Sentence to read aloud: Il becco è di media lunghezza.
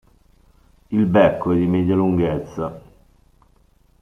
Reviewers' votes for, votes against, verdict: 2, 1, accepted